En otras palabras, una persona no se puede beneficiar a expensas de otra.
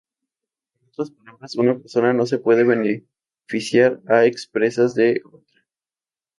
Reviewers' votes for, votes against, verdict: 0, 2, rejected